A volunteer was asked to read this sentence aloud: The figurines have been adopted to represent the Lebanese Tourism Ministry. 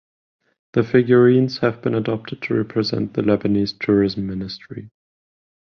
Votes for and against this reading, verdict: 5, 5, rejected